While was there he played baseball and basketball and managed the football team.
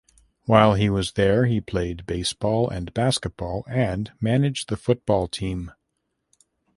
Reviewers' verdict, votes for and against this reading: accepted, 2, 0